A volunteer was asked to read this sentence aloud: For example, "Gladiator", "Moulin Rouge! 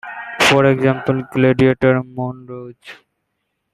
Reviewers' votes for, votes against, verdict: 2, 1, accepted